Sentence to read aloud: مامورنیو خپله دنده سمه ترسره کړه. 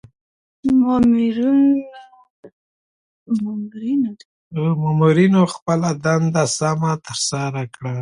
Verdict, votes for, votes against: rejected, 1, 2